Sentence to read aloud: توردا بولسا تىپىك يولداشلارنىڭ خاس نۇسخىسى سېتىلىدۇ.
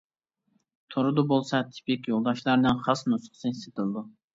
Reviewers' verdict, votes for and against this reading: accepted, 2, 1